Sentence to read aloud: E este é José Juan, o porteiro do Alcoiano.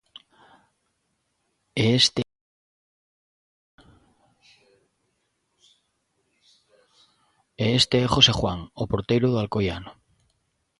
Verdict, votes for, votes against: rejected, 0, 2